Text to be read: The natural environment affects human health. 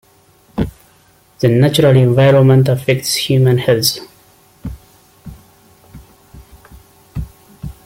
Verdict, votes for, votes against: accepted, 2, 0